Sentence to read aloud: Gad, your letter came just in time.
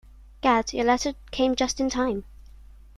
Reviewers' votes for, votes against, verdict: 2, 0, accepted